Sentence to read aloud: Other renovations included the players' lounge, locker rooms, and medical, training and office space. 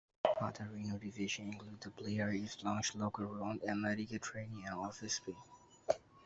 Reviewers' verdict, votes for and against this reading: rejected, 0, 2